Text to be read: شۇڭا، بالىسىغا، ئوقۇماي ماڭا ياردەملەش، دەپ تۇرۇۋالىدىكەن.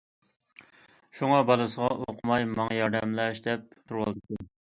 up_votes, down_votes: 1, 2